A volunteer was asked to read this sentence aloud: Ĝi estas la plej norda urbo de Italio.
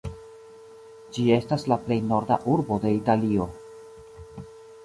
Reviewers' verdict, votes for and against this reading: rejected, 0, 2